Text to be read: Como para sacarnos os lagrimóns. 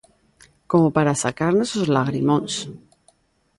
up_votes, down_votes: 2, 0